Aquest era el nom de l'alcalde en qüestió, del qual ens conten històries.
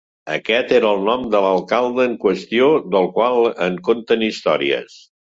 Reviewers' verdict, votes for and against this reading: rejected, 1, 2